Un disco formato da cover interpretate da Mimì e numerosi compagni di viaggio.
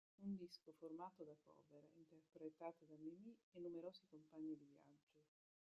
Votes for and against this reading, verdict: 0, 3, rejected